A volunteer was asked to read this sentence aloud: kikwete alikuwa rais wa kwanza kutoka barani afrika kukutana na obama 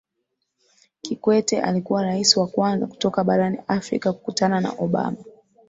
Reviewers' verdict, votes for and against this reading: accepted, 7, 0